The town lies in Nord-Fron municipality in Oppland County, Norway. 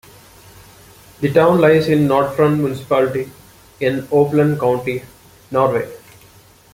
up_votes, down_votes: 2, 0